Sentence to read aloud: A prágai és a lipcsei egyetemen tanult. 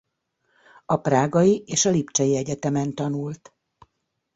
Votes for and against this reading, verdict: 2, 0, accepted